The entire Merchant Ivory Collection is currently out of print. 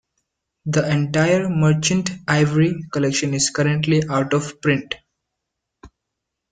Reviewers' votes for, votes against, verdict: 2, 0, accepted